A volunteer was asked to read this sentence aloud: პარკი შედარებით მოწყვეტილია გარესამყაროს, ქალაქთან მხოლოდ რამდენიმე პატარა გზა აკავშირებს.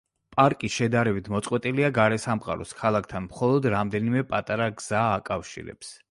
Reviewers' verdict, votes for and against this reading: accepted, 2, 0